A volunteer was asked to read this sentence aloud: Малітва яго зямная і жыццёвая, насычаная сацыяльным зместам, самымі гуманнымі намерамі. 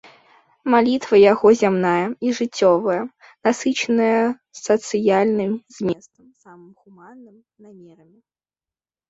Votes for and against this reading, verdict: 0, 2, rejected